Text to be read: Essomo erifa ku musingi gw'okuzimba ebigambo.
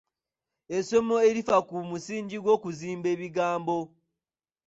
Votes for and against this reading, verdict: 1, 3, rejected